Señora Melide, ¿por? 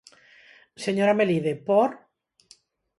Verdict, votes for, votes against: accepted, 4, 0